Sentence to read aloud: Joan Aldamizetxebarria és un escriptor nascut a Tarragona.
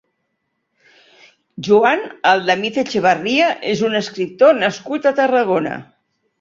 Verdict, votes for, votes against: accepted, 4, 0